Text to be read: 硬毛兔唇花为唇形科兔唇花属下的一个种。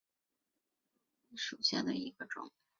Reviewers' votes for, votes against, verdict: 0, 3, rejected